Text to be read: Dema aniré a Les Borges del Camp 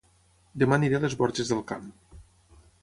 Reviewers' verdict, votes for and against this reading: accepted, 6, 0